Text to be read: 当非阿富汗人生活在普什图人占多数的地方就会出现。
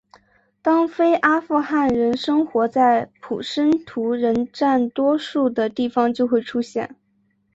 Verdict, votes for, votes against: accepted, 3, 0